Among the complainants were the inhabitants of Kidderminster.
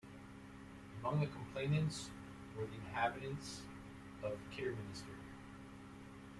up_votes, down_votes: 2, 1